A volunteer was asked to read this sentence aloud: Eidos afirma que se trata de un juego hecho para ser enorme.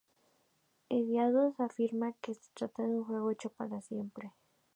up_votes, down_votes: 0, 2